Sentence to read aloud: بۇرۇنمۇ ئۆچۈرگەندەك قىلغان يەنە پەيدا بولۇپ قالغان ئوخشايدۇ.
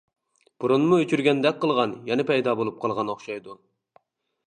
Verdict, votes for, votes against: accepted, 2, 0